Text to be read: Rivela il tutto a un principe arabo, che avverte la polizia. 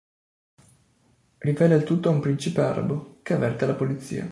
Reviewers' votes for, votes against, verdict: 4, 0, accepted